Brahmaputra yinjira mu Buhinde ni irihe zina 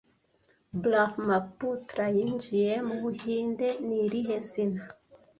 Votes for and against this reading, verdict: 1, 2, rejected